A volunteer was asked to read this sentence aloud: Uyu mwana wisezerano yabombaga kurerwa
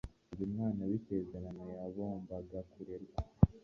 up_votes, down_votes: 1, 2